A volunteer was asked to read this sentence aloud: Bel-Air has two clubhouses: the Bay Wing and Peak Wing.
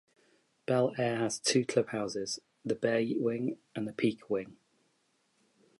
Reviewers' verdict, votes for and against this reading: accepted, 2, 1